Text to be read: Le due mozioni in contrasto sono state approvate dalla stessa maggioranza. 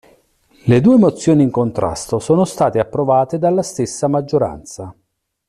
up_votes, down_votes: 2, 0